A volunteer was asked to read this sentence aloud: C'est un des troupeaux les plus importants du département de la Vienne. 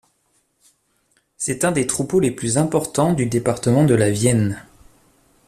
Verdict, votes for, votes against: accepted, 2, 0